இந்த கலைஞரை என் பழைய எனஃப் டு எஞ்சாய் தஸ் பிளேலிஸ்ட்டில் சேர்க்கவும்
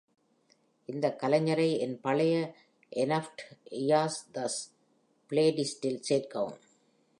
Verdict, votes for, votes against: rejected, 1, 2